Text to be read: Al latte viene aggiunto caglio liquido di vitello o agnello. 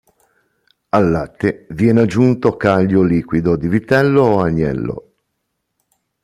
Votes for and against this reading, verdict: 2, 0, accepted